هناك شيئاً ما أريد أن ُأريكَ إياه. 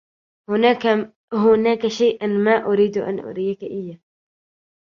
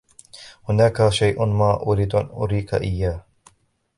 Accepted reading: first